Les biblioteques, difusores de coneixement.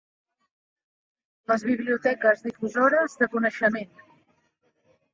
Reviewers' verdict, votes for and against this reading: accepted, 2, 0